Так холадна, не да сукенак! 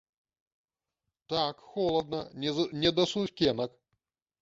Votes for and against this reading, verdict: 0, 2, rejected